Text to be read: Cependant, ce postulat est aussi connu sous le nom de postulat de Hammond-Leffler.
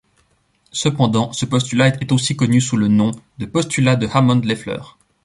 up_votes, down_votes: 1, 2